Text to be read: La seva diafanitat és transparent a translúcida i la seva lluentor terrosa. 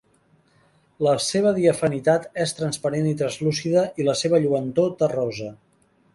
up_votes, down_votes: 2, 3